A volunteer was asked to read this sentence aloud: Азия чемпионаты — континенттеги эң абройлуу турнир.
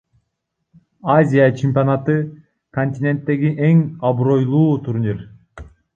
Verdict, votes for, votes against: rejected, 1, 2